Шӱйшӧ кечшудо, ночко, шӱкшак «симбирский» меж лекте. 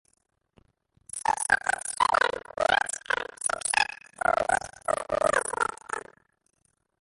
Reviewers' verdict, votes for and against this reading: rejected, 0, 2